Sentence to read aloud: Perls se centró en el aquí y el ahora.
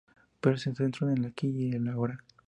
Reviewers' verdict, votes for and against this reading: rejected, 0, 2